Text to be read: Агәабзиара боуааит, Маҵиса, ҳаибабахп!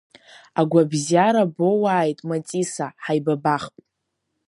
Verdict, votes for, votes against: rejected, 1, 2